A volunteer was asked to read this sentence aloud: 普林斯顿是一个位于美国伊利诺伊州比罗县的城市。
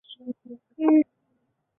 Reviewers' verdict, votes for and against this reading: rejected, 0, 2